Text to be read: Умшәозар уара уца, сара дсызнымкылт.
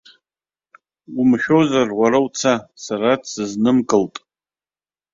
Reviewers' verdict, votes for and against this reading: accepted, 2, 1